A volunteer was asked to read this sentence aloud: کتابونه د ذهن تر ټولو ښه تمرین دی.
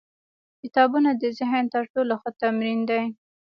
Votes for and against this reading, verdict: 2, 0, accepted